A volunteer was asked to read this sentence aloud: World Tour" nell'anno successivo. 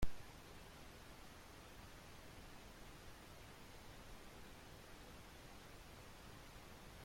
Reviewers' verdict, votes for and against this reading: rejected, 0, 2